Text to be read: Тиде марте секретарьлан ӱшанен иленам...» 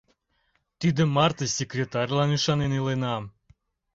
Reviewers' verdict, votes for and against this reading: accepted, 2, 0